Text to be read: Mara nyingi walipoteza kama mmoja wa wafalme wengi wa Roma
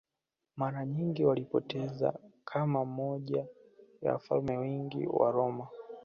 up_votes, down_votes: 1, 2